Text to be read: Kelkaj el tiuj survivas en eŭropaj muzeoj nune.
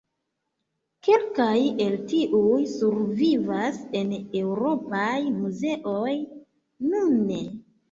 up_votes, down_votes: 0, 2